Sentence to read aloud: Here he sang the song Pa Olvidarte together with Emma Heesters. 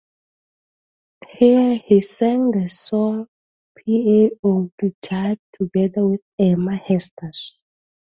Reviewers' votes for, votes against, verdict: 0, 2, rejected